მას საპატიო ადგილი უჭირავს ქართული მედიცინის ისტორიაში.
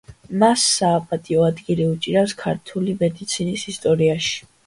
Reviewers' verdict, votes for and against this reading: accepted, 2, 0